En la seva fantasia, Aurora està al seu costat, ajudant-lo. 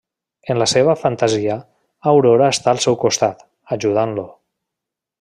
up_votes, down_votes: 2, 0